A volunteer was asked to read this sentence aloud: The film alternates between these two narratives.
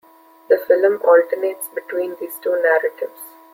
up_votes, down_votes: 0, 2